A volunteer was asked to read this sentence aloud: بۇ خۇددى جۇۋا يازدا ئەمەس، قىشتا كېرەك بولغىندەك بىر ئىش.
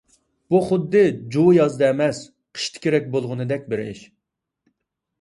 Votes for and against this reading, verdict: 2, 0, accepted